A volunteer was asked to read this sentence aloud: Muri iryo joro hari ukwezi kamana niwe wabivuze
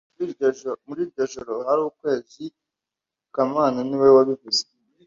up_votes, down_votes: 1, 2